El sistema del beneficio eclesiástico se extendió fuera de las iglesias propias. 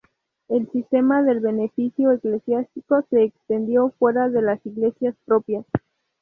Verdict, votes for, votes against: accepted, 2, 0